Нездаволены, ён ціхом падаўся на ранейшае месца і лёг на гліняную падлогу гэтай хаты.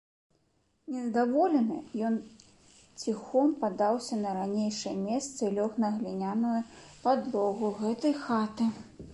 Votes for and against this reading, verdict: 2, 0, accepted